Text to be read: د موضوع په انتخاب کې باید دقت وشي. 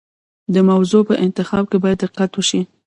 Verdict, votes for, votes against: rejected, 0, 2